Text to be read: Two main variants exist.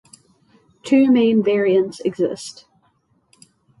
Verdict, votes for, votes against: accepted, 6, 0